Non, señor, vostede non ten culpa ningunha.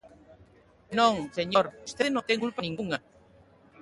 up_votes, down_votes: 0, 2